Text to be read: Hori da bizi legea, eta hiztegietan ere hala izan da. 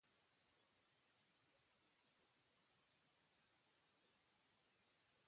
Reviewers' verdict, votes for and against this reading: rejected, 0, 2